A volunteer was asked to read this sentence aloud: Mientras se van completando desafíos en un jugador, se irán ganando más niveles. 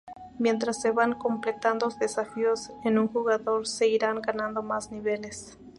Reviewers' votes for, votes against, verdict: 2, 2, rejected